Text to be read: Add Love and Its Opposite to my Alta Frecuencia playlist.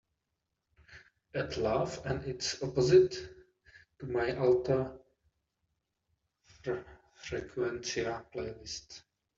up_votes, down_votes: 2, 1